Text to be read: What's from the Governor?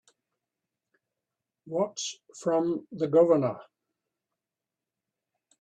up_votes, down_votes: 4, 0